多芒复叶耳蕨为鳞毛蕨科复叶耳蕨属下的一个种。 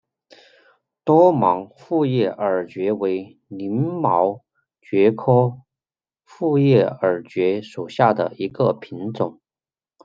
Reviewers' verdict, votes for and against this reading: rejected, 0, 2